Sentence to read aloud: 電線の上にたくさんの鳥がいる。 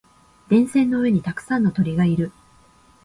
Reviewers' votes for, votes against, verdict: 2, 0, accepted